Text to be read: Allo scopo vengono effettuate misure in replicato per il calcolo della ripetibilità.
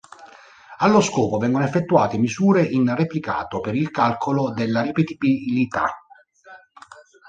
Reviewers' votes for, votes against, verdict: 1, 2, rejected